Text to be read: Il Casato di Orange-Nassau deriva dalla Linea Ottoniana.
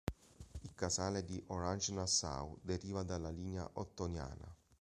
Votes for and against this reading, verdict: 0, 2, rejected